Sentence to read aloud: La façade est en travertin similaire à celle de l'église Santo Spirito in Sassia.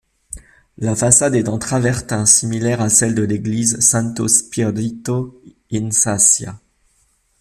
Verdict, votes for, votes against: accepted, 2, 0